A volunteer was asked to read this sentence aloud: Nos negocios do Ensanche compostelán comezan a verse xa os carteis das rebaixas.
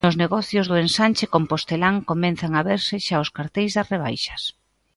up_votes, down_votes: 1, 2